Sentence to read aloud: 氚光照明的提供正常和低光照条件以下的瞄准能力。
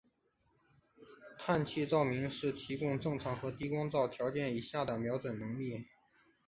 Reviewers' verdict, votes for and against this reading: rejected, 1, 3